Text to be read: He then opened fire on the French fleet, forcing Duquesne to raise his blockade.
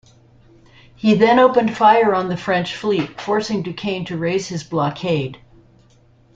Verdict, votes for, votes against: accepted, 2, 1